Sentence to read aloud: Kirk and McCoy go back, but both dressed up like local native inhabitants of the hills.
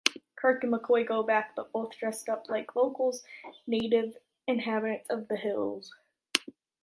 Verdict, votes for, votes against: rejected, 1, 2